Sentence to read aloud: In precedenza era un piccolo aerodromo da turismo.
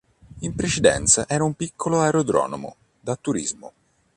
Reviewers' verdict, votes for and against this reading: rejected, 1, 2